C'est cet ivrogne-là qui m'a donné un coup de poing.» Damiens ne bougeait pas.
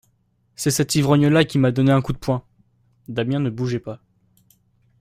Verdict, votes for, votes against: accepted, 2, 0